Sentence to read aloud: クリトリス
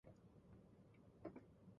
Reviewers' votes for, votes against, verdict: 0, 2, rejected